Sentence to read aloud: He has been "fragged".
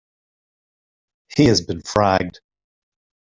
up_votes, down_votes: 2, 0